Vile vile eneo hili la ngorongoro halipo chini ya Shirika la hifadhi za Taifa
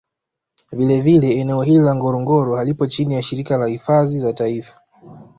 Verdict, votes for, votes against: accepted, 2, 0